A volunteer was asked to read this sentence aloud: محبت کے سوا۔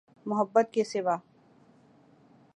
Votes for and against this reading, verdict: 2, 0, accepted